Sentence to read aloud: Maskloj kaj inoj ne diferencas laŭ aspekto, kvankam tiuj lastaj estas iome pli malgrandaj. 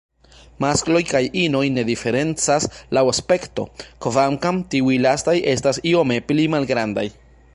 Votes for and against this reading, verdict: 2, 0, accepted